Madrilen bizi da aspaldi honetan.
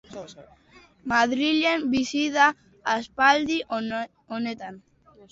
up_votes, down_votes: 2, 2